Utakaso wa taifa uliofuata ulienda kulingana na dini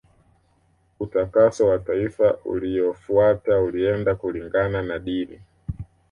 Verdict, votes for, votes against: accepted, 2, 0